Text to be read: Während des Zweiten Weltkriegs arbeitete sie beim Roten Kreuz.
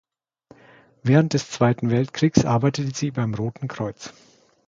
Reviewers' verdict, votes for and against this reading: rejected, 0, 2